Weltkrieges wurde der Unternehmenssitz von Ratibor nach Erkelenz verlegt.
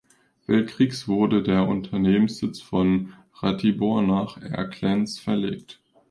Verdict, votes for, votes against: rejected, 1, 2